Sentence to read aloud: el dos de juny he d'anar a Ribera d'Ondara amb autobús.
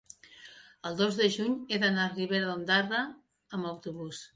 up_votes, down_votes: 0, 2